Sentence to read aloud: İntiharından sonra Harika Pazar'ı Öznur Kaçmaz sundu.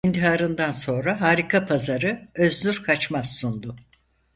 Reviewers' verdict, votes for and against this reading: rejected, 2, 4